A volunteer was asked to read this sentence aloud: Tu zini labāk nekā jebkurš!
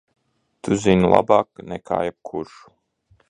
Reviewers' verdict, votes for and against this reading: accepted, 2, 0